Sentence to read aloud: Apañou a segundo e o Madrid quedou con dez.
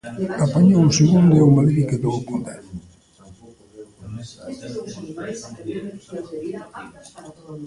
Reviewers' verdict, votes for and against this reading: rejected, 0, 2